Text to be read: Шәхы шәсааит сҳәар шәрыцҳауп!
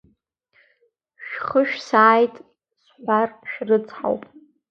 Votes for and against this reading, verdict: 0, 2, rejected